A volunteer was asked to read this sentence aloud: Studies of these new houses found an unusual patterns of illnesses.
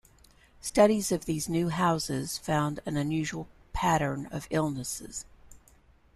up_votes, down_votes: 1, 2